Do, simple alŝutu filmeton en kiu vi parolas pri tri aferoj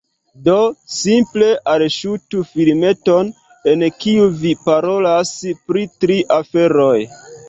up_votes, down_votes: 2, 0